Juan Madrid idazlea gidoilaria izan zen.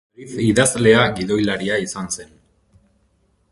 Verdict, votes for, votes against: rejected, 0, 2